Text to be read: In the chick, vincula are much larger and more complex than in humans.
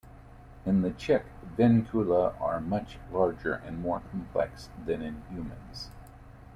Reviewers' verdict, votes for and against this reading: rejected, 1, 2